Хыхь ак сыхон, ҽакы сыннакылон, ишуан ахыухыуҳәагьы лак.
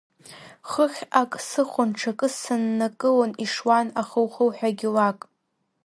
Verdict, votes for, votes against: accepted, 2, 1